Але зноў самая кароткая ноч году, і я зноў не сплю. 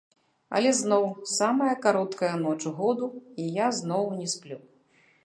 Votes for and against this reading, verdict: 0, 2, rejected